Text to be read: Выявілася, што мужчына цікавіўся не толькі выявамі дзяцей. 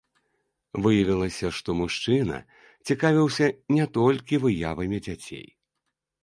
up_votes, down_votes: 2, 0